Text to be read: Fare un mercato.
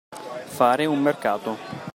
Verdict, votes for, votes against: accepted, 2, 1